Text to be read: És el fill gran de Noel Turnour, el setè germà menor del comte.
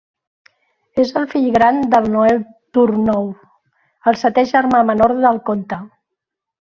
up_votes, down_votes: 2, 1